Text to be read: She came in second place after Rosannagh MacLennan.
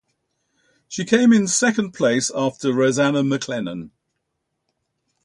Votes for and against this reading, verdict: 2, 0, accepted